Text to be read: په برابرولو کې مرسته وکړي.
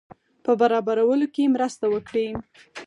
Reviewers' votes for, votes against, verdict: 0, 4, rejected